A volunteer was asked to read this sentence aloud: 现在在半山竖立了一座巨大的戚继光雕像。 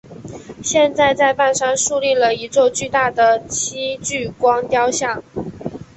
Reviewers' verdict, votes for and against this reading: accepted, 2, 0